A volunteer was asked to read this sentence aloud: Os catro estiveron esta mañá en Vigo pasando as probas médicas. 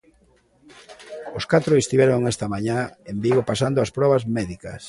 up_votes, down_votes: 2, 0